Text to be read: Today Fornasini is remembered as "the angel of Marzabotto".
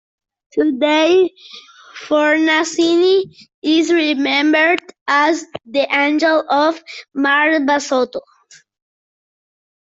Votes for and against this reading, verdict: 1, 2, rejected